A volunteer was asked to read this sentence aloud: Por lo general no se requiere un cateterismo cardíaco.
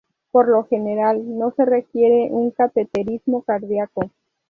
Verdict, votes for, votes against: accepted, 2, 0